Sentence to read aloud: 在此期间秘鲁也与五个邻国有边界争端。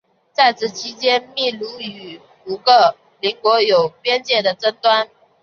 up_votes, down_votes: 3, 0